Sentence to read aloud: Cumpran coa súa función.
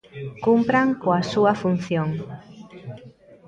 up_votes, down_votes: 1, 2